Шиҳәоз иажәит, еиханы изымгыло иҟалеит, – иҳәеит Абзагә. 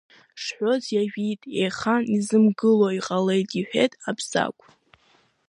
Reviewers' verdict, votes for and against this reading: rejected, 0, 2